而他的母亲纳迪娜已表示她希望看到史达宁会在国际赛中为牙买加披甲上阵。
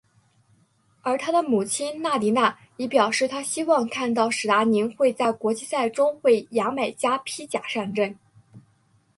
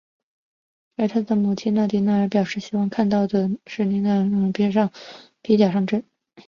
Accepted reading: first